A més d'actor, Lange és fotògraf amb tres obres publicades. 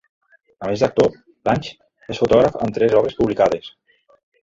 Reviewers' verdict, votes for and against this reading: accepted, 2, 1